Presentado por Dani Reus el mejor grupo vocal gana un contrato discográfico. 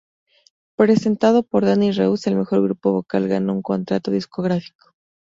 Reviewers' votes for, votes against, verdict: 2, 0, accepted